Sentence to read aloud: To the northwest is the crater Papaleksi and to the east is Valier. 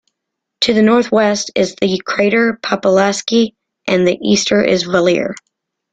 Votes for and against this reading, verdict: 0, 2, rejected